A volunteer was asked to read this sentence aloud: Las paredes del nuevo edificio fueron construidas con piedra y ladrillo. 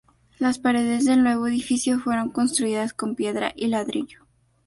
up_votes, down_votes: 0, 2